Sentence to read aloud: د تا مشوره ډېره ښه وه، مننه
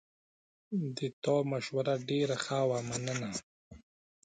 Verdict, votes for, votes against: accepted, 2, 0